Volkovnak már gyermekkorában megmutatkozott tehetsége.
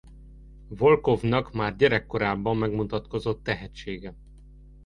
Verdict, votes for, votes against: rejected, 1, 2